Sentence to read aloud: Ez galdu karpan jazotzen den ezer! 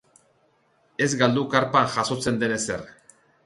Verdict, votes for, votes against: accepted, 2, 0